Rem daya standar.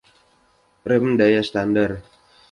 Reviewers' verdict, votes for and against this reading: accepted, 2, 0